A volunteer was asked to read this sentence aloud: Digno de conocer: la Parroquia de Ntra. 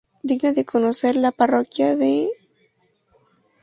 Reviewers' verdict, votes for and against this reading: rejected, 0, 4